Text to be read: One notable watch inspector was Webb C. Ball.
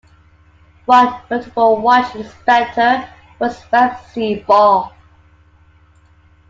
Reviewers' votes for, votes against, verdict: 2, 0, accepted